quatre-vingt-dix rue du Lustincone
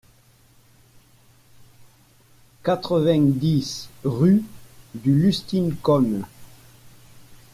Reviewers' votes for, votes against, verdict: 2, 0, accepted